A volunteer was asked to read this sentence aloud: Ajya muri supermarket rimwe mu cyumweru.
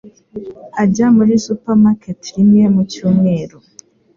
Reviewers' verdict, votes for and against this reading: accepted, 2, 0